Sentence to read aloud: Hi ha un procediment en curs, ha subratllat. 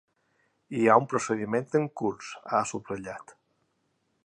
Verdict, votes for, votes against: accepted, 2, 0